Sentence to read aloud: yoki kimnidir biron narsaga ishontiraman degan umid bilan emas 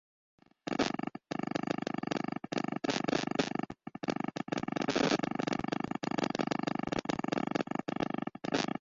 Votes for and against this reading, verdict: 0, 2, rejected